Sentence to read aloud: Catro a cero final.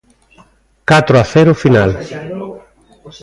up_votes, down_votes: 1, 2